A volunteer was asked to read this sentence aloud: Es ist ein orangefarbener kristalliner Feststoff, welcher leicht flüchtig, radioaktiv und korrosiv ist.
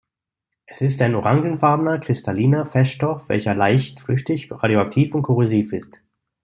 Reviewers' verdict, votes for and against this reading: accepted, 2, 0